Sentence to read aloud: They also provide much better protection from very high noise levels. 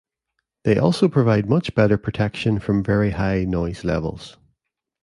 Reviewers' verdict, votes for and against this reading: accepted, 2, 0